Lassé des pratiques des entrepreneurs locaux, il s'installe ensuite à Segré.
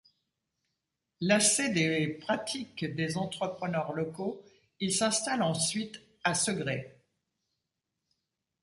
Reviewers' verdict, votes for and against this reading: rejected, 1, 2